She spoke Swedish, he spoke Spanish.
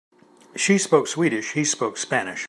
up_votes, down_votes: 2, 0